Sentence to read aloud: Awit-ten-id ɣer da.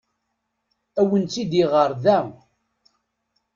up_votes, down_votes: 0, 2